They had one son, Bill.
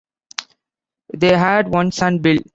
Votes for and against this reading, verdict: 2, 0, accepted